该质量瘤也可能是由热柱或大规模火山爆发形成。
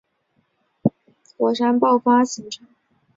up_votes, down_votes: 6, 2